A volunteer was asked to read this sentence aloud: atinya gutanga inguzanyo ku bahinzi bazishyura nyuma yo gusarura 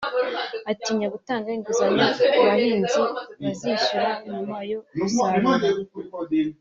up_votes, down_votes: 1, 2